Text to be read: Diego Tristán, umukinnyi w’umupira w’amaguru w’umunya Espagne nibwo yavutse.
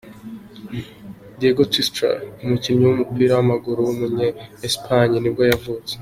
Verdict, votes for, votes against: rejected, 1, 2